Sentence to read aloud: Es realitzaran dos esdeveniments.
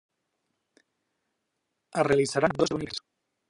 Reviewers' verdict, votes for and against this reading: rejected, 0, 2